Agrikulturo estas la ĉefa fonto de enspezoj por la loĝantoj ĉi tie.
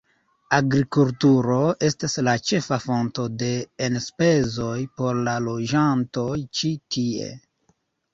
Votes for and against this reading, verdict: 2, 1, accepted